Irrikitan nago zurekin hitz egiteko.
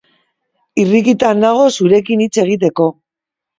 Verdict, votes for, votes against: accepted, 2, 1